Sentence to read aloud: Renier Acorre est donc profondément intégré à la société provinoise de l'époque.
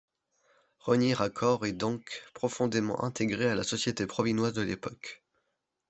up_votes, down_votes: 1, 2